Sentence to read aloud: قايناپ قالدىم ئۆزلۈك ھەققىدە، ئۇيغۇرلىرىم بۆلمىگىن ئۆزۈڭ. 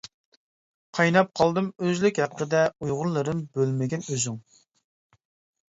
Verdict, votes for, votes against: accepted, 2, 0